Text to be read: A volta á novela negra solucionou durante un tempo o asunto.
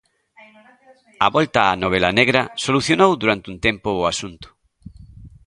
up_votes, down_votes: 2, 0